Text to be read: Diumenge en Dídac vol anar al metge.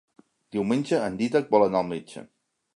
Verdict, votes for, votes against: accepted, 3, 0